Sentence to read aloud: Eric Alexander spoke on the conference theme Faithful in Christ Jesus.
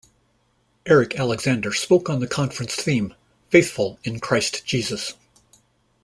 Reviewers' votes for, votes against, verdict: 2, 1, accepted